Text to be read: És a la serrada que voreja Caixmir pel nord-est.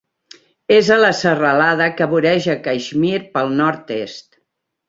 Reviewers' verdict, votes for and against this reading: rejected, 0, 2